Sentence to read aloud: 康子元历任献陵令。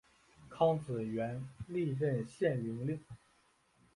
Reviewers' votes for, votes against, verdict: 3, 0, accepted